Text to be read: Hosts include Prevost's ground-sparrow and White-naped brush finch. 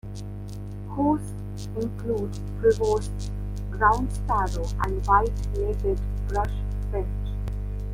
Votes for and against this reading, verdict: 1, 2, rejected